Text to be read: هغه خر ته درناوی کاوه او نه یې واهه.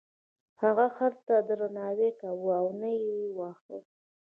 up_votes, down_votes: 0, 2